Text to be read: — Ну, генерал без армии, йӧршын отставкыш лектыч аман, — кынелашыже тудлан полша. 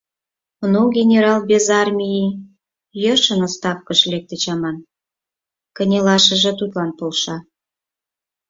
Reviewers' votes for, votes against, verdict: 4, 0, accepted